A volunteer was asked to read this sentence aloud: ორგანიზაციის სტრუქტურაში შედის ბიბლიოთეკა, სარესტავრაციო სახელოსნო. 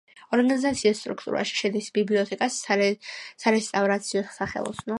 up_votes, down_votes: 1, 2